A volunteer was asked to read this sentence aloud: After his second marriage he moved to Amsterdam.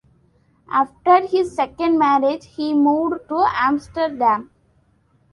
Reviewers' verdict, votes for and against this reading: accepted, 2, 1